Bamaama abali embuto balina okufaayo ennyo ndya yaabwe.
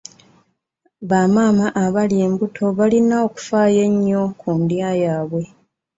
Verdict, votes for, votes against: rejected, 1, 2